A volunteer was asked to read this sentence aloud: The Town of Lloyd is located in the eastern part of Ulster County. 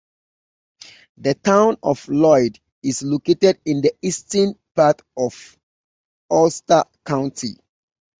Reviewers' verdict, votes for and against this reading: accepted, 2, 0